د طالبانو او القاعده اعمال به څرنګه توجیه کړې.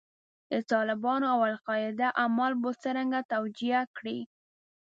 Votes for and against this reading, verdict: 0, 2, rejected